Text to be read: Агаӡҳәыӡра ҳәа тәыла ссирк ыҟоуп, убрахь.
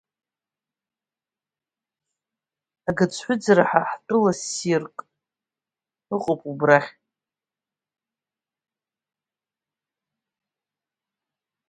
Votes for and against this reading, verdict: 2, 1, accepted